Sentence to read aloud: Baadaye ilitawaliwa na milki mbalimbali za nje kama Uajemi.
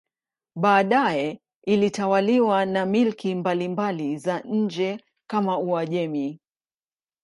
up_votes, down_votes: 2, 0